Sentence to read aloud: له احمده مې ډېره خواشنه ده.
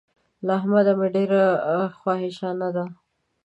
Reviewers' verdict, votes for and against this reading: rejected, 1, 2